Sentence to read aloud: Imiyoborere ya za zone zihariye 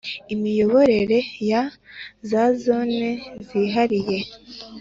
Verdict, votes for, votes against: accepted, 2, 0